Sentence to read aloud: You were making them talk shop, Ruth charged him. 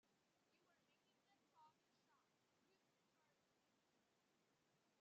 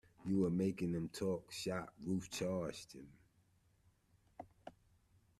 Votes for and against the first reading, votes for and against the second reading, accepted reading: 0, 2, 2, 1, second